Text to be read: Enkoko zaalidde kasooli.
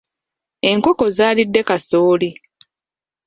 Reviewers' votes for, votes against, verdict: 2, 0, accepted